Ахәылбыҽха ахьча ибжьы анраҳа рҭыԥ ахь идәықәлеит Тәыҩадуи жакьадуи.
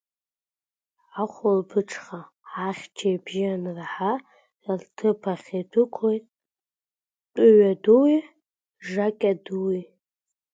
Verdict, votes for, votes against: accepted, 2, 0